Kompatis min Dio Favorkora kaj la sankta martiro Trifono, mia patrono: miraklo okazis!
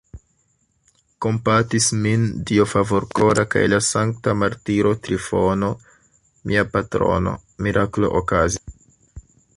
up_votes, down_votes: 0, 2